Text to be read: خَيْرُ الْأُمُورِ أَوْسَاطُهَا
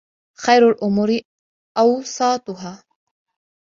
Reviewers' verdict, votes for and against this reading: accepted, 2, 0